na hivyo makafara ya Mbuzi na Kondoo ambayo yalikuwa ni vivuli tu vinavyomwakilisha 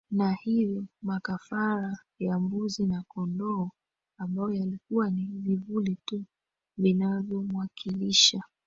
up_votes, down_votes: 2, 1